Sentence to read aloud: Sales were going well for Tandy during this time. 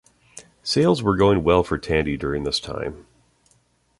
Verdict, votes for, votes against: accepted, 2, 0